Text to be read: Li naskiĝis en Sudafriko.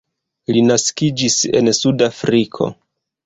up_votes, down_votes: 2, 1